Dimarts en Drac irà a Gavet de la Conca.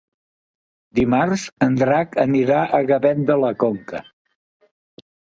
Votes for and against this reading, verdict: 0, 2, rejected